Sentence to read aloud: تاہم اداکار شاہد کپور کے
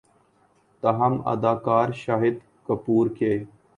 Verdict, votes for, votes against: accepted, 3, 0